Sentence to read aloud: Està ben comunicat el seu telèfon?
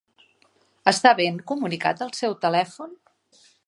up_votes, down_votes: 3, 0